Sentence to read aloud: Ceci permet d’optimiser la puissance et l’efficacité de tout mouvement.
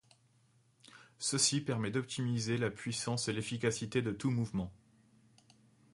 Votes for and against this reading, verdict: 2, 0, accepted